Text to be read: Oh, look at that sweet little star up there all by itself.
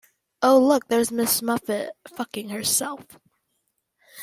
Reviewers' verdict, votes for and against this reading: rejected, 1, 3